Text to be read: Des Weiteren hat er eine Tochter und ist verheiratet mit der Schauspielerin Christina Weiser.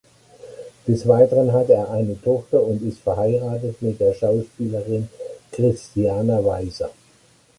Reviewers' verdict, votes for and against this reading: rejected, 0, 2